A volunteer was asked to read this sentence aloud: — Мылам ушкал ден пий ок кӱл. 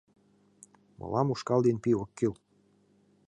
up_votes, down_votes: 2, 0